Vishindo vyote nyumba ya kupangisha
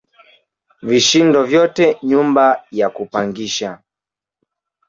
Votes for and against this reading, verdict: 2, 1, accepted